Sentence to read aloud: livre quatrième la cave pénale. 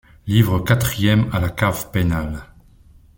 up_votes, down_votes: 0, 2